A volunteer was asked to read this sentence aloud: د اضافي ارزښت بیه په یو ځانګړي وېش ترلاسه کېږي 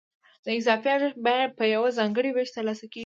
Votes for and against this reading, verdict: 0, 2, rejected